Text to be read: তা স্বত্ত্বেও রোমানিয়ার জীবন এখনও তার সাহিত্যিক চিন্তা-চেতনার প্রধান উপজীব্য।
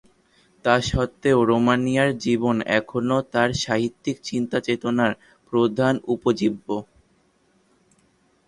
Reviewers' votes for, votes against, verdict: 2, 0, accepted